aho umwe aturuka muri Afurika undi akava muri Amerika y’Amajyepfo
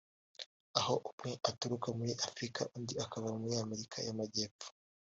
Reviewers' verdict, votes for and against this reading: accepted, 2, 1